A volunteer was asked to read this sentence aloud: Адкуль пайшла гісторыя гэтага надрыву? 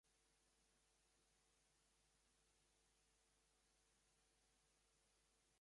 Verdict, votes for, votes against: rejected, 0, 2